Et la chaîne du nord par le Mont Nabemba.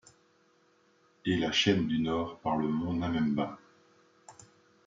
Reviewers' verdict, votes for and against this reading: rejected, 0, 2